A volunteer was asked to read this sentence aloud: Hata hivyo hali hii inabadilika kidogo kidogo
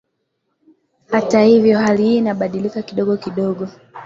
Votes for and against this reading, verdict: 0, 2, rejected